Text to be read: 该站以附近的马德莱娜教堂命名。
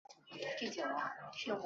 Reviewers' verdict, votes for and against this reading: rejected, 0, 4